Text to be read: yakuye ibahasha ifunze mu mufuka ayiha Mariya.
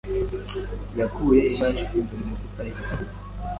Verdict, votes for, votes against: accepted, 2, 1